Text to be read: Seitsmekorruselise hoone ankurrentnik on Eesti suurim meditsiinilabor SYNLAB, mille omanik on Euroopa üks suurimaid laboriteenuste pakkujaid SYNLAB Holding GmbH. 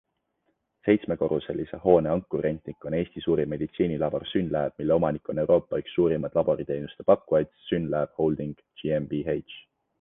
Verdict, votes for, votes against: accepted, 2, 1